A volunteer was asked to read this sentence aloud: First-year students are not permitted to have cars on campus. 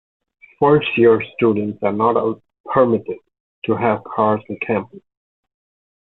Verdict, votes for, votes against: rejected, 1, 2